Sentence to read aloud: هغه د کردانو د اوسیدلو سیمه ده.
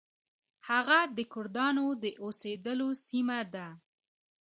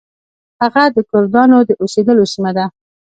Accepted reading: first